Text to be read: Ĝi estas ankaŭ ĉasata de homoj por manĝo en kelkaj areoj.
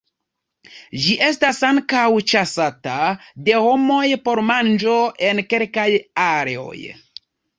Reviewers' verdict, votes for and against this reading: accepted, 2, 0